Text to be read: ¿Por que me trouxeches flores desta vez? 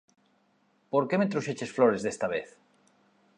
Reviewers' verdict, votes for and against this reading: accepted, 2, 0